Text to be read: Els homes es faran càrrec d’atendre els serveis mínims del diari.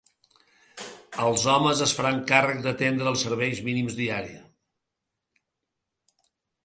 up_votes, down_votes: 0, 3